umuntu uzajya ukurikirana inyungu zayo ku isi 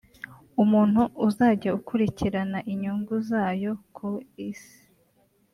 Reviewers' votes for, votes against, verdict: 0, 2, rejected